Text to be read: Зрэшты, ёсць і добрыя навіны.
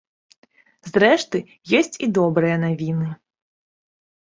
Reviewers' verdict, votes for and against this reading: accepted, 2, 0